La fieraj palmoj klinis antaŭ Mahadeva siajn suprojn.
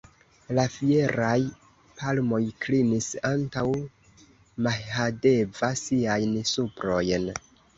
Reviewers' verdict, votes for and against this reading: accepted, 2, 1